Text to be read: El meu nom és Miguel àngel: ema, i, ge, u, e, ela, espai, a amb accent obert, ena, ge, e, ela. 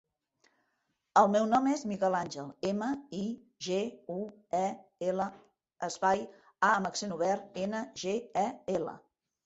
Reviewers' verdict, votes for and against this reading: accepted, 2, 0